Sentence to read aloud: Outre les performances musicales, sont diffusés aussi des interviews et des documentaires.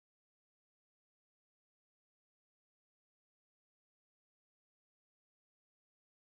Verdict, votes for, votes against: rejected, 0, 4